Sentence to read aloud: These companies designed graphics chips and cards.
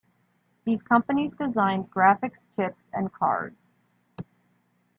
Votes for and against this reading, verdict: 1, 2, rejected